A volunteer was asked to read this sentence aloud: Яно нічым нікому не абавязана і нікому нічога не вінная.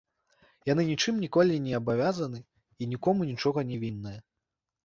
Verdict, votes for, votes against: rejected, 1, 2